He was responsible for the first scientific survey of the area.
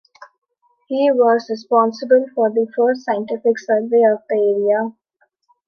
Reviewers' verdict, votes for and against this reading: accepted, 2, 0